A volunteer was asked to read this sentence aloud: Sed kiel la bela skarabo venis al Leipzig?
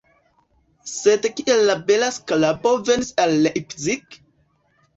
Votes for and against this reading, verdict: 0, 2, rejected